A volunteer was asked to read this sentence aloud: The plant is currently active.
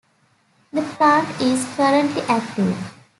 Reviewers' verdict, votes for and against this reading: accepted, 2, 0